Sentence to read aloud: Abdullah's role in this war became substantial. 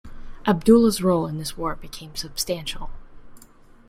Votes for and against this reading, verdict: 3, 0, accepted